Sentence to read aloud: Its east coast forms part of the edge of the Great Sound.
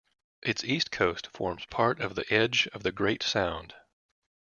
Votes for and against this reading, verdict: 3, 0, accepted